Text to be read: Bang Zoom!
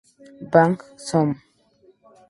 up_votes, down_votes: 2, 0